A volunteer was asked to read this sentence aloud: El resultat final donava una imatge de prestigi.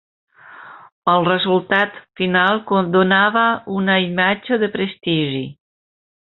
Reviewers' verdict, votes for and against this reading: rejected, 0, 2